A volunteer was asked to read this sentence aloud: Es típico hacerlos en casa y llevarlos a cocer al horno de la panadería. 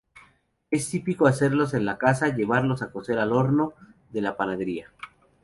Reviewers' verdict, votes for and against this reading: rejected, 0, 2